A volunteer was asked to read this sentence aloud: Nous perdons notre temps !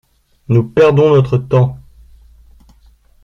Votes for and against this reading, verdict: 2, 1, accepted